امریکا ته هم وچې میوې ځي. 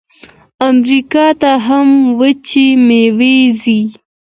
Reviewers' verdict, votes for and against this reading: rejected, 1, 2